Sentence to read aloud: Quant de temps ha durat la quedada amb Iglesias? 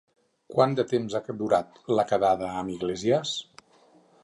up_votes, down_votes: 0, 4